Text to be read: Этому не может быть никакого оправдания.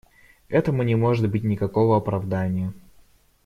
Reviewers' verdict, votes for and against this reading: accepted, 2, 0